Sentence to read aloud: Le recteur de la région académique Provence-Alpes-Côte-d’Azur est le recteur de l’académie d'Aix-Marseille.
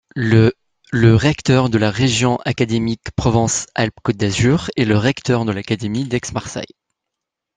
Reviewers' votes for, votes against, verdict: 1, 2, rejected